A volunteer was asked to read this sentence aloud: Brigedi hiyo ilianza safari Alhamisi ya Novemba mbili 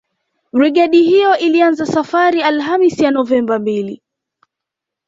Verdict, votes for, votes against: accepted, 2, 0